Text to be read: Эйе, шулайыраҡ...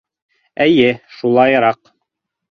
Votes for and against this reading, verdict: 2, 0, accepted